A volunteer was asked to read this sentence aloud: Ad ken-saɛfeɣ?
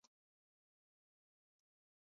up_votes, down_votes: 0, 2